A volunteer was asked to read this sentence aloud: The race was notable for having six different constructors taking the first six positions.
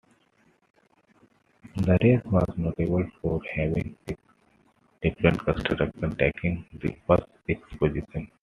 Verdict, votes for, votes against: accepted, 2, 1